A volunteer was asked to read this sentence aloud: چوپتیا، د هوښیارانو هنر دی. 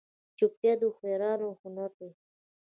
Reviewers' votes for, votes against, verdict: 2, 0, accepted